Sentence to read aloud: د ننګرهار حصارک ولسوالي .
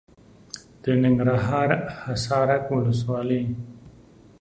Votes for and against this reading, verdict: 2, 0, accepted